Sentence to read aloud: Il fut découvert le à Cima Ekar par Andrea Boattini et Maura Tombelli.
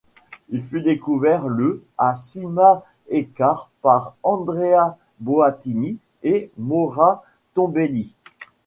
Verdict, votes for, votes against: accepted, 2, 1